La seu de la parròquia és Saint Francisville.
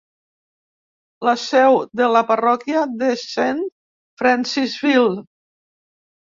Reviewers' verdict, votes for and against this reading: rejected, 0, 4